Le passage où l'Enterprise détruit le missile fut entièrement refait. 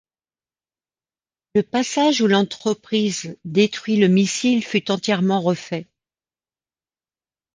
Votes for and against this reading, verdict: 1, 2, rejected